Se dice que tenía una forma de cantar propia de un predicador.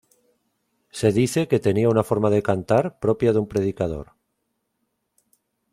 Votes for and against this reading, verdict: 2, 0, accepted